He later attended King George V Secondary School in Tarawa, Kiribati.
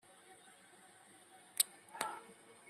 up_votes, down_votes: 1, 2